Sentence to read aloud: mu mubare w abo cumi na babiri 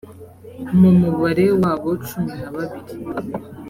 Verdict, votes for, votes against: accepted, 3, 0